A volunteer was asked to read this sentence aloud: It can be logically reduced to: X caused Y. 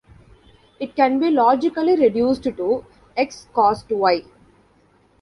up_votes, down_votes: 0, 2